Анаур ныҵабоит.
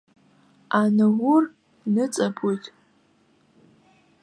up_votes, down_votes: 0, 2